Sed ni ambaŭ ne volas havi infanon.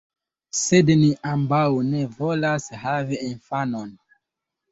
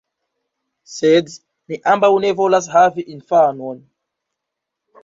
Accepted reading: first